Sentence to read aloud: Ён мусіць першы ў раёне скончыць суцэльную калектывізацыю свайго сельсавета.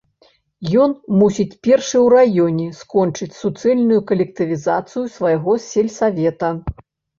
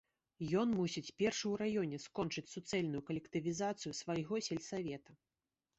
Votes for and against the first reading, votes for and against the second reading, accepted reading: 0, 2, 2, 0, second